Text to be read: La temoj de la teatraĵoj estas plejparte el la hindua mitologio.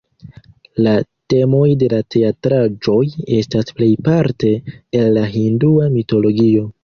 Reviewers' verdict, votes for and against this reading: accepted, 2, 0